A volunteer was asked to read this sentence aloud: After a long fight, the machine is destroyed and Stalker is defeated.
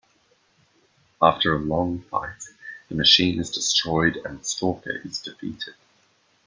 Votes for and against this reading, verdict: 2, 1, accepted